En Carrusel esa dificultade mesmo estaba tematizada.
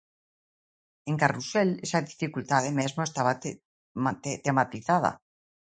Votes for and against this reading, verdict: 0, 2, rejected